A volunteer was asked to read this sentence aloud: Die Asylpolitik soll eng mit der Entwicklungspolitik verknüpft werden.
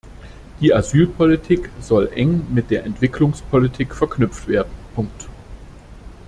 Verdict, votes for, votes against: rejected, 0, 2